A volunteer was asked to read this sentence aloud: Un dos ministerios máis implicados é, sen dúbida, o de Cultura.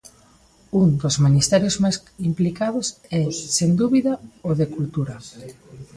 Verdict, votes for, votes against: rejected, 1, 2